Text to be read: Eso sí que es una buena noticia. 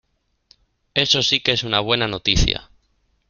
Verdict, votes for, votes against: accepted, 2, 1